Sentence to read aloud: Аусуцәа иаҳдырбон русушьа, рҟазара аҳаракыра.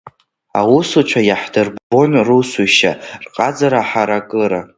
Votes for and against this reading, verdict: 1, 2, rejected